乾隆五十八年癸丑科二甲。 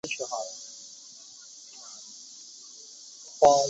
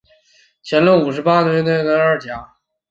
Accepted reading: second